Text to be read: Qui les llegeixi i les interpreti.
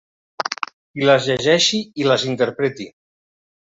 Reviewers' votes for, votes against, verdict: 1, 2, rejected